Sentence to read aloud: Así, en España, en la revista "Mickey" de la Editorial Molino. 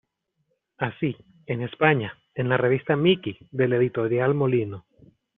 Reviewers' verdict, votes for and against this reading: rejected, 0, 2